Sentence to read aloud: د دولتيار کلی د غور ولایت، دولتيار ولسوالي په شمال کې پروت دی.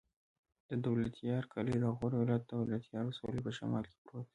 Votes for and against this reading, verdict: 1, 2, rejected